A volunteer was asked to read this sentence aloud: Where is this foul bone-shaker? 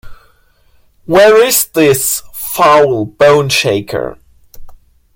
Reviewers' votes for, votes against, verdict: 2, 0, accepted